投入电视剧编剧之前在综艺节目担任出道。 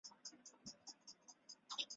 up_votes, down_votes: 1, 2